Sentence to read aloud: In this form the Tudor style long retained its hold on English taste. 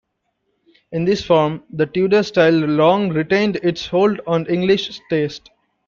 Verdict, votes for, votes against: rejected, 0, 2